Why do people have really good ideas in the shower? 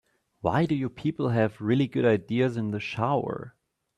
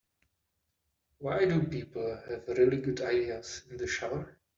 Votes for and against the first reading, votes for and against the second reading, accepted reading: 0, 2, 2, 0, second